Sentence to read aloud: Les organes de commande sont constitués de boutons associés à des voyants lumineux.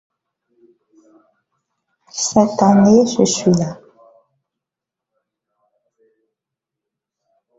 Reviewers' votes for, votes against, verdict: 0, 2, rejected